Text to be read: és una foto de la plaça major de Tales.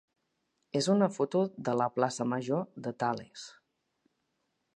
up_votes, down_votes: 3, 0